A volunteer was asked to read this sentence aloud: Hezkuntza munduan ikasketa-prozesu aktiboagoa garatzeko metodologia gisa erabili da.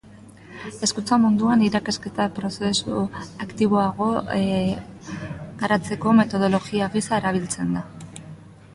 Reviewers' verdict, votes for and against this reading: rejected, 0, 2